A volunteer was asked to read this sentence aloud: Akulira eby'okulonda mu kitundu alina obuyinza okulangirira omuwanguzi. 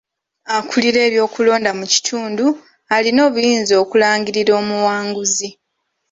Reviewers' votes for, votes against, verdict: 2, 0, accepted